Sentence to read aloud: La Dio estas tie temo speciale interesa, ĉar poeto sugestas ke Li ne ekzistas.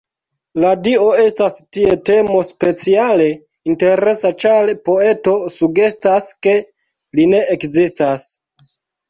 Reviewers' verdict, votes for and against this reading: accepted, 2, 0